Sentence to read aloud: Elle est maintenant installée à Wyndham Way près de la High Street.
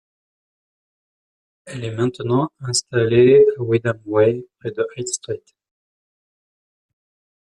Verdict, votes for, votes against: rejected, 1, 2